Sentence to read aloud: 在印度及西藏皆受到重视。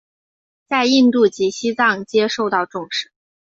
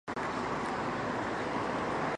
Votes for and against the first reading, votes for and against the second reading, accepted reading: 3, 0, 0, 4, first